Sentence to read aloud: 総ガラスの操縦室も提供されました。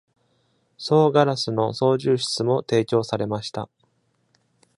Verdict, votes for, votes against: accepted, 2, 0